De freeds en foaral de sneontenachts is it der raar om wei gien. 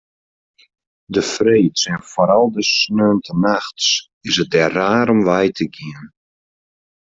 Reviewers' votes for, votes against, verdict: 0, 2, rejected